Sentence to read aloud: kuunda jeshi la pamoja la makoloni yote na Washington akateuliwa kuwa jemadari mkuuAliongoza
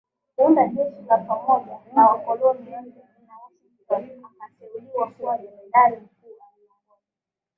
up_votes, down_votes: 0, 2